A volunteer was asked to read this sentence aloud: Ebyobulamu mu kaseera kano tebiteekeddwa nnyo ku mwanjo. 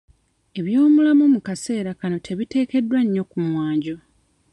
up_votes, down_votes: 1, 2